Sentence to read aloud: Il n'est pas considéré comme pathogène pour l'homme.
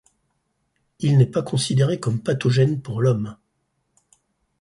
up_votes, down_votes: 4, 0